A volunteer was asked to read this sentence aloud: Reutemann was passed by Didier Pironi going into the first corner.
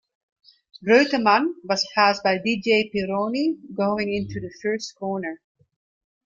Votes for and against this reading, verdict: 1, 2, rejected